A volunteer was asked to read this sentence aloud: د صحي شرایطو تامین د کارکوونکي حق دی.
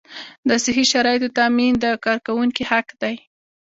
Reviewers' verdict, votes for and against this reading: accepted, 2, 0